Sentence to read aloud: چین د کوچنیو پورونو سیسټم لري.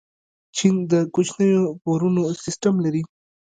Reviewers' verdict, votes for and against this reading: accepted, 3, 2